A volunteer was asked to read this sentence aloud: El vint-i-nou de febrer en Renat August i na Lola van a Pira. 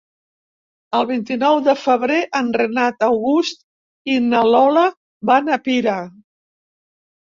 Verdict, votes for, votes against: accepted, 3, 0